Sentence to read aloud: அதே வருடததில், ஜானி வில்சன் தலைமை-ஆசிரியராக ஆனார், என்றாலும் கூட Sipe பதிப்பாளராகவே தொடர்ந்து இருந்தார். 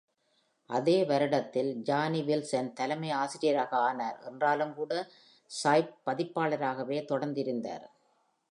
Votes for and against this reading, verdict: 2, 0, accepted